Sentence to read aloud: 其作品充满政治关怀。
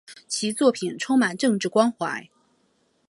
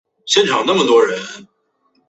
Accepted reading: first